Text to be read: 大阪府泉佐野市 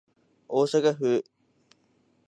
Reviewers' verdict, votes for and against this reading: rejected, 1, 2